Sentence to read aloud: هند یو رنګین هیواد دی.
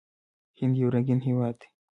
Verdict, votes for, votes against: rejected, 1, 2